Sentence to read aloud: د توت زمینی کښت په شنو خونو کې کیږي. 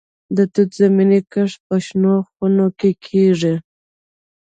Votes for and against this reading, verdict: 3, 0, accepted